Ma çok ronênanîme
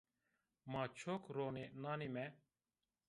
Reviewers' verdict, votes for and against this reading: rejected, 1, 2